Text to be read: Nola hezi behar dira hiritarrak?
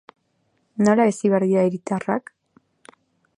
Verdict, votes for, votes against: rejected, 2, 4